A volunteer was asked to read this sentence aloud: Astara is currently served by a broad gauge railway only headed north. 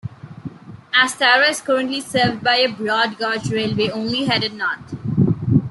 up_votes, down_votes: 1, 2